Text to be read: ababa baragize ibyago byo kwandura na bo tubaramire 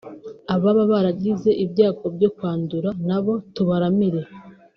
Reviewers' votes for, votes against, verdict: 2, 0, accepted